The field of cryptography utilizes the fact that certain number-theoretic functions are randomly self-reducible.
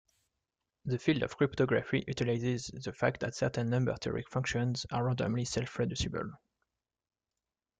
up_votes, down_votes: 2, 1